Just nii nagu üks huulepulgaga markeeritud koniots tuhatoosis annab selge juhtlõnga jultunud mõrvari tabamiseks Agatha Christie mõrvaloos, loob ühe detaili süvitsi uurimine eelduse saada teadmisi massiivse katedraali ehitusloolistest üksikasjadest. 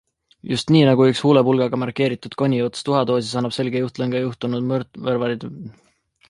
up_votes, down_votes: 0, 2